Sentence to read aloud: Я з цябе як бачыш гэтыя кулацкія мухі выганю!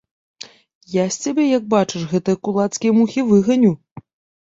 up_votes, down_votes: 2, 0